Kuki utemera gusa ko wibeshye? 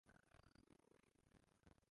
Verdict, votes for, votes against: rejected, 0, 2